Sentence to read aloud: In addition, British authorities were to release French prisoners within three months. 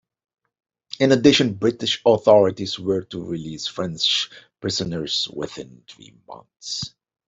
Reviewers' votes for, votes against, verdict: 2, 0, accepted